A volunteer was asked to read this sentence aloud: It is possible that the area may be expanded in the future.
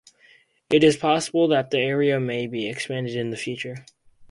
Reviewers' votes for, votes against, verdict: 4, 0, accepted